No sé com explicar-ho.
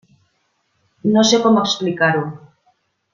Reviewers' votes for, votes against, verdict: 3, 0, accepted